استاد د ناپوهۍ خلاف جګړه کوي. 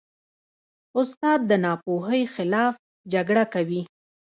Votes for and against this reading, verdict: 1, 2, rejected